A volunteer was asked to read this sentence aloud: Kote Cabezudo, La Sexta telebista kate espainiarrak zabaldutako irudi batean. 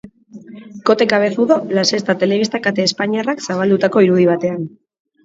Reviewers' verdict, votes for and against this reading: accepted, 5, 0